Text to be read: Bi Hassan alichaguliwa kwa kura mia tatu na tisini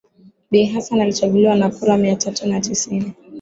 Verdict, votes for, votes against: accepted, 5, 3